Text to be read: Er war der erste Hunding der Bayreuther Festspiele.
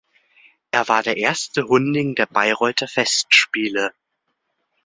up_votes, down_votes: 2, 0